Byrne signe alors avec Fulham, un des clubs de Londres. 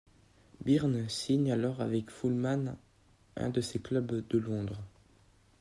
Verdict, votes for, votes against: rejected, 1, 2